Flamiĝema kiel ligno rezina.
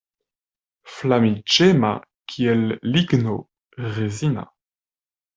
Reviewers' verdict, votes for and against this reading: accepted, 2, 0